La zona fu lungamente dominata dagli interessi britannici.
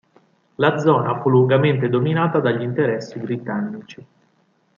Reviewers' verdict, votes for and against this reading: accepted, 2, 0